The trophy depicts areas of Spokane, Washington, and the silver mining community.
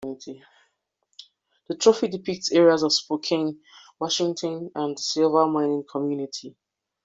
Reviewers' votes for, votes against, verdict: 0, 2, rejected